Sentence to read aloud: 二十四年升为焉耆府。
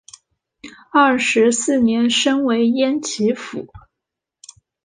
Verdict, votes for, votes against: accepted, 2, 0